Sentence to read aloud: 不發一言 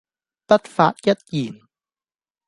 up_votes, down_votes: 0, 2